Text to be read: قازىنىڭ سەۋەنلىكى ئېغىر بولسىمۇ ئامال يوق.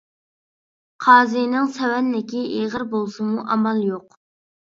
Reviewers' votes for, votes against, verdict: 2, 1, accepted